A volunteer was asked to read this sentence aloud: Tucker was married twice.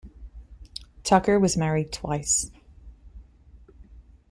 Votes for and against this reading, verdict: 2, 0, accepted